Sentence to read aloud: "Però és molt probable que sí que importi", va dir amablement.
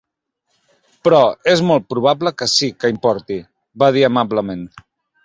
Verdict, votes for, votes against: accepted, 3, 0